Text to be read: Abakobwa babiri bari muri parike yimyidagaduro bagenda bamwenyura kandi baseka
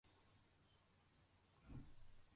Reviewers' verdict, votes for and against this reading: rejected, 0, 2